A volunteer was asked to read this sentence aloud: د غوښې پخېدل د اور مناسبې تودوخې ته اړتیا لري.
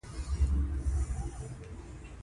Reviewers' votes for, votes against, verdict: 3, 0, accepted